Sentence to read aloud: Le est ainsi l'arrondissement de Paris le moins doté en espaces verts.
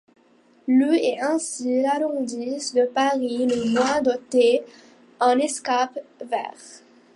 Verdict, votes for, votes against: rejected, 0, 2